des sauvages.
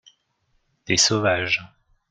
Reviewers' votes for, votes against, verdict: 2, 0, accepted